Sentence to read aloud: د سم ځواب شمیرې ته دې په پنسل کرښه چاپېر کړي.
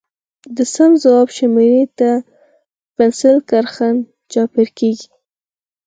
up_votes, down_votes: 0, 4